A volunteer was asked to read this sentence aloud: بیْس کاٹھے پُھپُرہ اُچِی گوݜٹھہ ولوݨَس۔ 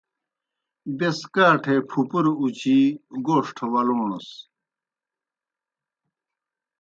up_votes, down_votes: 2, 0